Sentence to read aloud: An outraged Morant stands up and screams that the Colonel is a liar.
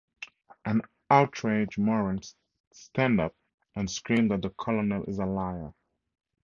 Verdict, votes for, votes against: rejected, 2, 2